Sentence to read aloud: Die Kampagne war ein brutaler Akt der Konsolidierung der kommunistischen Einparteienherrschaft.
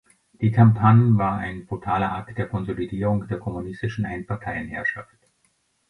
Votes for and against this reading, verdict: 0, 2, rejected